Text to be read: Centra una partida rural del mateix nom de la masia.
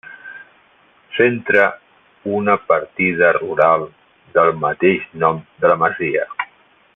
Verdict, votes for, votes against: rejected, 1, 2